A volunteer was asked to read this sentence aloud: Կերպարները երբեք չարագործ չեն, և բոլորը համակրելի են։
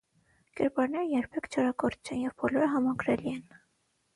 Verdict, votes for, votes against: accepted, 3, 0